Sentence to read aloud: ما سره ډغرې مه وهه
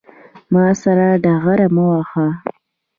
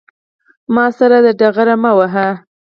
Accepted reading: second